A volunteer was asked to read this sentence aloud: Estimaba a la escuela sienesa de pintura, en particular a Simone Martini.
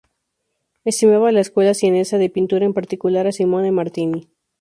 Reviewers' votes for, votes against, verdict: 0, 2, rejected